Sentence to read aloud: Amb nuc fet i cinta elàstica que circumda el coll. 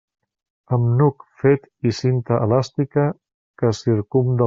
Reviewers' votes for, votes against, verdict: 0, 2, rejected